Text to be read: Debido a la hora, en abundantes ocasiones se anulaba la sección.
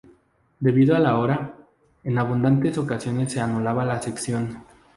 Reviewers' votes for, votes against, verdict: 0, 2, rejected